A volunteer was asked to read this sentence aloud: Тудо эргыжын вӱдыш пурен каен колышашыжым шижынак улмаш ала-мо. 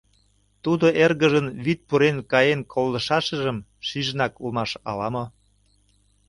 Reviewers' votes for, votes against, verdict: 1, 2, rejected